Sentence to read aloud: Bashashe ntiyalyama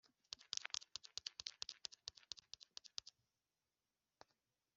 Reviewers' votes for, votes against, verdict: 0, 2, rejected